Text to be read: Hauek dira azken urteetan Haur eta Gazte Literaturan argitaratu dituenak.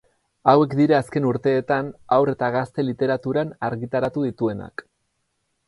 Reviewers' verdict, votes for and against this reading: accepted, 8, 0